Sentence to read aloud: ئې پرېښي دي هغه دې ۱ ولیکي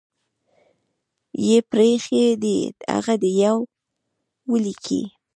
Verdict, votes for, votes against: rejected, 0, 2